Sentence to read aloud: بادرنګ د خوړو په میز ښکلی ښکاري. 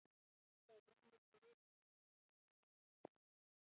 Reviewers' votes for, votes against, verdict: 0, 2, rejected